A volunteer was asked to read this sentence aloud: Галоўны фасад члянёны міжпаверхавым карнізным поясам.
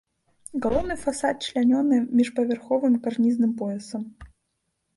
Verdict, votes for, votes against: accepted, 2, 1